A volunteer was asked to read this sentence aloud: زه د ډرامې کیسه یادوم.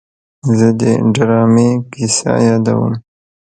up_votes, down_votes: 1, 2